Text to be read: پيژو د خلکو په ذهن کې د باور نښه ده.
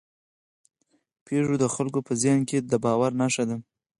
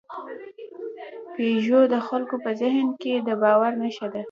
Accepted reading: second